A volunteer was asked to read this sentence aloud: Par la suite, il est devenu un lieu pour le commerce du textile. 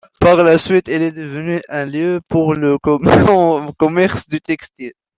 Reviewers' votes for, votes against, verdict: 0, 2, rejected